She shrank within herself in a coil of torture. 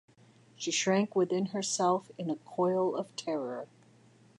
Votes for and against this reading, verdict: 0, 2, rejected